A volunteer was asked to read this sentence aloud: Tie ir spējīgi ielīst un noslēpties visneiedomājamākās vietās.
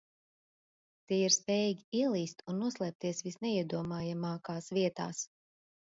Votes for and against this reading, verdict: 2, 0, accepted